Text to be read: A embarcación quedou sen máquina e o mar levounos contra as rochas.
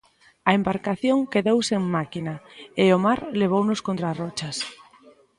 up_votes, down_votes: 1, 2